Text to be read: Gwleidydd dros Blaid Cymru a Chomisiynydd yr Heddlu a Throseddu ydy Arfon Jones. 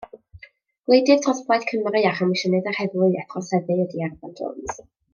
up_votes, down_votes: 1, 2